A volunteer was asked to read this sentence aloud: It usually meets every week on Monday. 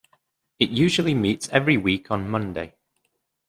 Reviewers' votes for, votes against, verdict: 2, 0, accepted